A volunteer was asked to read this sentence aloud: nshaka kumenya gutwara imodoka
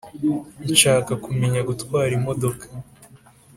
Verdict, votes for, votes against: accepted, 2, 0